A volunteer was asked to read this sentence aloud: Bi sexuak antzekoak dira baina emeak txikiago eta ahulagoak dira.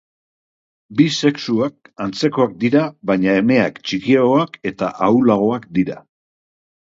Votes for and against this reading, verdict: 1, 2, rejected